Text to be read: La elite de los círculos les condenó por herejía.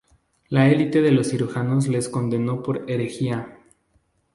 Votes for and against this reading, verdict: 0, 2, rejected